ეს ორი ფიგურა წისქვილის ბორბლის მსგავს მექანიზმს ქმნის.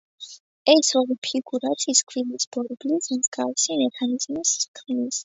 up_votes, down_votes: 2, 0